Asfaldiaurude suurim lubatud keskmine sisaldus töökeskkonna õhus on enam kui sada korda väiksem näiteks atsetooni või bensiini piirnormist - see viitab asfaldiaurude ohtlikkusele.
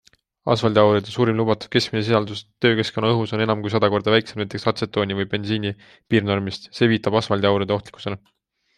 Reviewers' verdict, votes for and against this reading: accepted, 2, 0